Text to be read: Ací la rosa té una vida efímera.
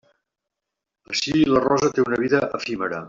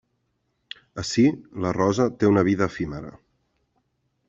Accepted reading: second